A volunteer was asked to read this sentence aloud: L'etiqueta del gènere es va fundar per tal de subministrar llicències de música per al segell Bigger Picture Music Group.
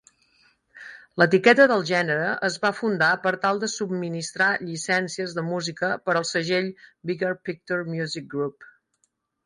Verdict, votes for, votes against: accepted, 6, 0